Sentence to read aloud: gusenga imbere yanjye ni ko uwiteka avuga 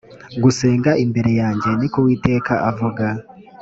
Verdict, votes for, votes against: accepted, 2, 0